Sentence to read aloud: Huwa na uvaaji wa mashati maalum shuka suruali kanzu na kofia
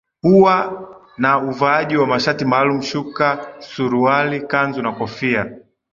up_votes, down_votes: 1, 2